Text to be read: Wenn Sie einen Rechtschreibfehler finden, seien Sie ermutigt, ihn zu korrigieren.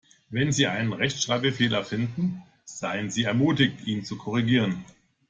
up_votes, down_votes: 1, 2